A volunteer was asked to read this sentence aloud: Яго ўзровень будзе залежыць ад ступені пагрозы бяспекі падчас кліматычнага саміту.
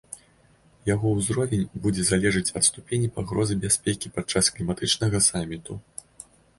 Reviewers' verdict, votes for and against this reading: accepted, 2, 0